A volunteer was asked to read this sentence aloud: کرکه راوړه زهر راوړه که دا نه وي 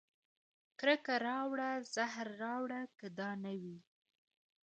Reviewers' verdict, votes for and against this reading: accepted, 2, 0